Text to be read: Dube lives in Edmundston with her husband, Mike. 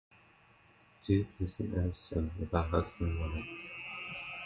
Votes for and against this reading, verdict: 1, 2, rejected